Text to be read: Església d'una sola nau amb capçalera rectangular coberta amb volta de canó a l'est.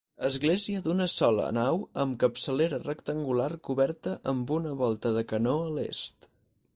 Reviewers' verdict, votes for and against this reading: rejected, 2, 4